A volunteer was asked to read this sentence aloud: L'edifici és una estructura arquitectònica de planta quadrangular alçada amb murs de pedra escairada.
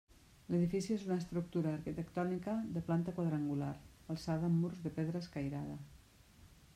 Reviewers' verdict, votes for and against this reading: accepted, 2, 1